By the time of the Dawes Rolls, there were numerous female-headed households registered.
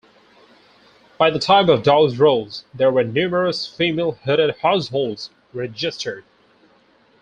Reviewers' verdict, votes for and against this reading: rejected, 2, 2